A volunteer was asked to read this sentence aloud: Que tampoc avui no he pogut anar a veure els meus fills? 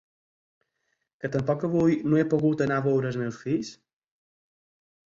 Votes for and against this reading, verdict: 4, 0, accepted